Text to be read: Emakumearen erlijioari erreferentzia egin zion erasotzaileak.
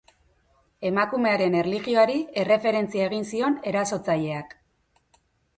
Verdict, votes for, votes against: accepted, 2, 0